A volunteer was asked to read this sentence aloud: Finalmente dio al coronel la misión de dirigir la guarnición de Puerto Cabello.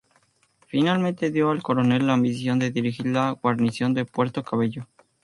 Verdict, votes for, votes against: accepted, 2, 0